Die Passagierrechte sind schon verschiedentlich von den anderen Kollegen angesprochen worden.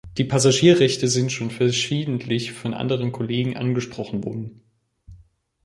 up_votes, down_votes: 1, 3